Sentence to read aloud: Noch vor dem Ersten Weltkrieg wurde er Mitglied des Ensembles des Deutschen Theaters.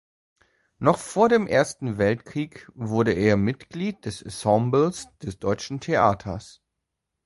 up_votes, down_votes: 2, 0